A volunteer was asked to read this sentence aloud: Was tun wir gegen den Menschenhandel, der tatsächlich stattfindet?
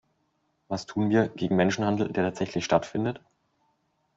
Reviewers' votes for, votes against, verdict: 1, 2, rejected